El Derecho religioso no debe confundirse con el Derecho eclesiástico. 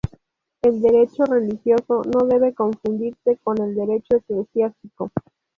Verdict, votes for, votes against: rejected, 0, 2